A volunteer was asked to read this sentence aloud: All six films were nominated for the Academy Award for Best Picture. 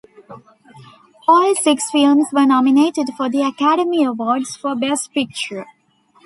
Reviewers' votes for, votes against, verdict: 1, 2, rejected